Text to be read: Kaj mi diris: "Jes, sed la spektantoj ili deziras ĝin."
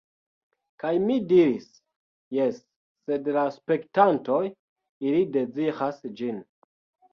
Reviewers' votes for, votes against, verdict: 1, 2, rejected